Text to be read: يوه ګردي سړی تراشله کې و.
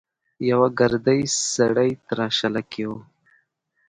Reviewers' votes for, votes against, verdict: 2, 0, accepted